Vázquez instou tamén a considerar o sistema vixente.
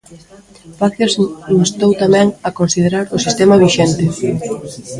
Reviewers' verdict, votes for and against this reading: rejected, 0, 3